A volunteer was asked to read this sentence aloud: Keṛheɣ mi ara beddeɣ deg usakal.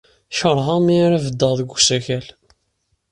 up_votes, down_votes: 2, 0